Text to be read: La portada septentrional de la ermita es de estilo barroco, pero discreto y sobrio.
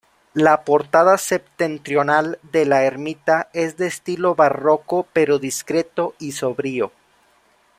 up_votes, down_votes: 2, 0